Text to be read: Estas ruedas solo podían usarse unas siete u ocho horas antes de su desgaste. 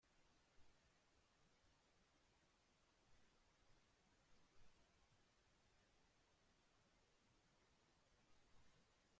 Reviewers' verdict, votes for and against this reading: rejected, 0, 2